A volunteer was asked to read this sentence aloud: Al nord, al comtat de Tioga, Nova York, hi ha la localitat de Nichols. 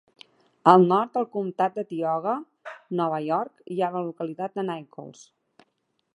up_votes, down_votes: 2, 0